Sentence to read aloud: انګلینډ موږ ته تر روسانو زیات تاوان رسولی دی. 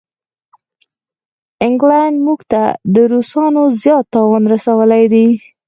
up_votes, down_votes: 2, 4